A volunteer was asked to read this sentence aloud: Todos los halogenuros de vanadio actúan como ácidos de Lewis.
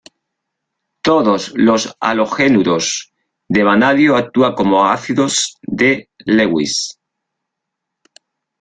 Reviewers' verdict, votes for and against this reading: rejected, 0, 2